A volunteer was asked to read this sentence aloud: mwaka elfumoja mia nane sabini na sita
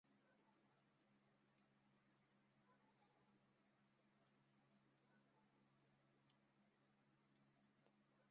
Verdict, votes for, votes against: rejected, 0, 2